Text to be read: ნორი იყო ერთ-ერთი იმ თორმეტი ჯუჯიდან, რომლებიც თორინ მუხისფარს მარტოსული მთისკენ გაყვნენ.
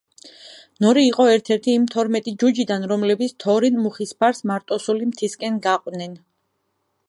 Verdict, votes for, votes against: accepted, 2, 0